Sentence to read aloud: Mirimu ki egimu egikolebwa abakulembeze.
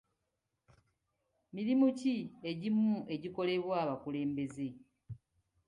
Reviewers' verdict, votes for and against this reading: accepted, 3, 0